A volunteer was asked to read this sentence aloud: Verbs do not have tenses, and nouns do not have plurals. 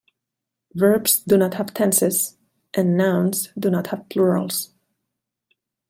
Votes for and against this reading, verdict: 2, 0, accepted